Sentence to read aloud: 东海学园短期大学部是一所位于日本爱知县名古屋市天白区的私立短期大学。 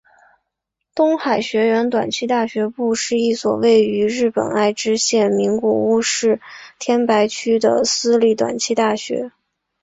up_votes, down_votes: 5, 0